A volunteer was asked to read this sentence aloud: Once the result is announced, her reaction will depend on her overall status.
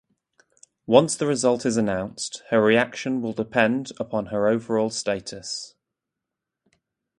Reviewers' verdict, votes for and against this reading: rejected, 0, 2